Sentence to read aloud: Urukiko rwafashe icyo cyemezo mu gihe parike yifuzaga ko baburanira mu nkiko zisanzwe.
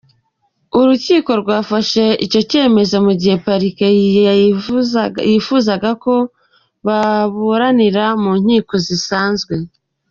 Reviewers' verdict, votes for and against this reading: rejected, 1, 2